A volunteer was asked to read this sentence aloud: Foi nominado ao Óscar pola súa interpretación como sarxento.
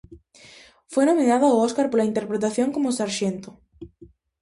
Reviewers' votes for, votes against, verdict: 0, 2, rejected